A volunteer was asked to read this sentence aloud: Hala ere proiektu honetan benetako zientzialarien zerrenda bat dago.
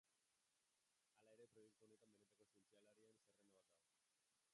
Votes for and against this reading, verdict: 0, 2, rejected